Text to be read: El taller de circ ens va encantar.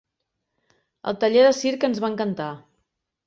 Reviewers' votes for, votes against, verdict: 3, 0, accepted